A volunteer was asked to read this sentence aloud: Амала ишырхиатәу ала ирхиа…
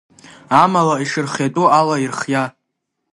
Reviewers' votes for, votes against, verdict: 2, 0, accepted